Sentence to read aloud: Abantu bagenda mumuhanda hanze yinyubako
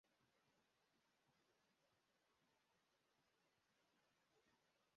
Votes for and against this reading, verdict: 0, 2, rejected